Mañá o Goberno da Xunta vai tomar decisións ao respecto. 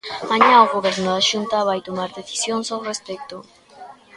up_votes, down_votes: 1, 2